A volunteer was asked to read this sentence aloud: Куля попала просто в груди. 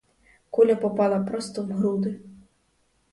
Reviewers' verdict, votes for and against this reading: accepted, 4, 0